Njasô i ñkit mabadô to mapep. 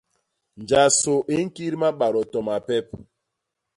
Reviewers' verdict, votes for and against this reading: accepted, 2, 0